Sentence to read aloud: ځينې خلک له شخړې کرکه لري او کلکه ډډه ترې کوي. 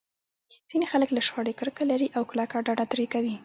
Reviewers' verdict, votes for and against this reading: rejected, 1, 2